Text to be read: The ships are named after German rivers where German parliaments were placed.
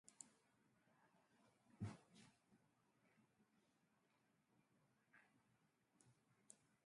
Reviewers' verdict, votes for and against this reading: rejected, 1, 2